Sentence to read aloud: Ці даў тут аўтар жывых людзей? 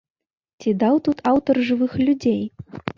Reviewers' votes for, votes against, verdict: 4, 0, accepted